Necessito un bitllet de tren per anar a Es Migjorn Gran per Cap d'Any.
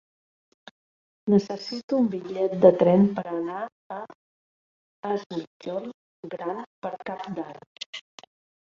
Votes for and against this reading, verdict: 2, 1, accepted